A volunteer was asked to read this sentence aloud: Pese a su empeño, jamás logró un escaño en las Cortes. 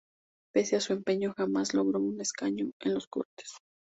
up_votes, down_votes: 2, 0